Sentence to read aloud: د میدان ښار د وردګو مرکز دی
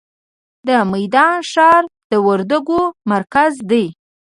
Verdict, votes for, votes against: rejected, 1, 2